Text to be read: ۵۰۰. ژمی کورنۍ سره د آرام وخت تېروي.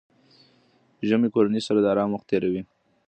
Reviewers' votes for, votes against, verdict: 0, 2, rejected